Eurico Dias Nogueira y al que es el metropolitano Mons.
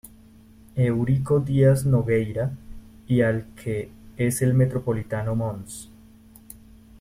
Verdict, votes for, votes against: rejected, 0, 2